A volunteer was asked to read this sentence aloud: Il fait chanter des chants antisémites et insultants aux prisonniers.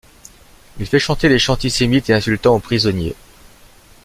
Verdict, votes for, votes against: accepted, 2, 0